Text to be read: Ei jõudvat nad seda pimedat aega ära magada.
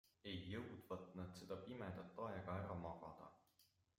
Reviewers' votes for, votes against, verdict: 2, 0, accepted